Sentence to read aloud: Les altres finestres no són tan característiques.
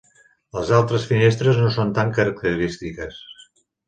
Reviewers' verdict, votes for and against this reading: accepted, 2, 0